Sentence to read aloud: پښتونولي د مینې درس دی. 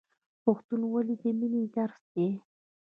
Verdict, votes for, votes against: rejected, 0, 2